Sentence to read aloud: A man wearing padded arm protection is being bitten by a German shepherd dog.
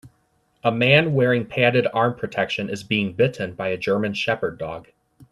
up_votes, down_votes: 2, 0